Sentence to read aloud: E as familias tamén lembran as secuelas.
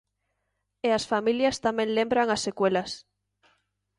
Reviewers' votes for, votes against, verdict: 2, 0, accepted